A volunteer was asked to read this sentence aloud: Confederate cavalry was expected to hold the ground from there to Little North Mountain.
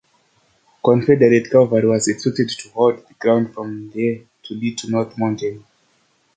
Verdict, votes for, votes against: rejected, 1, 2